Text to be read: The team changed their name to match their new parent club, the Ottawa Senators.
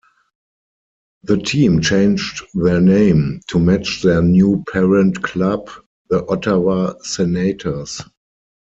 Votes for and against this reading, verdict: 2, 4, rejected